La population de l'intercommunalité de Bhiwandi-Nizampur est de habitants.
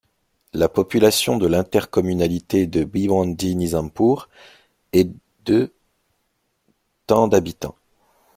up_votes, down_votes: 0, 2